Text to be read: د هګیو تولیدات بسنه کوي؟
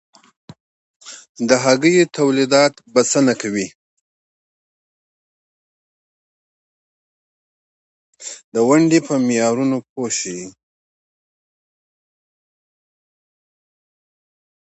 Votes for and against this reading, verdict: 1, 2, rejected